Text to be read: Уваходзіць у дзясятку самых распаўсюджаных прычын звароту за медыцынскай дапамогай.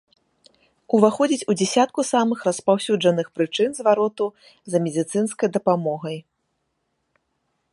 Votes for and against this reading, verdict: 1, 2, rejected